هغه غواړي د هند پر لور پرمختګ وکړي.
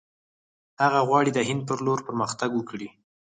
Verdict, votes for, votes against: rejected, 2, 4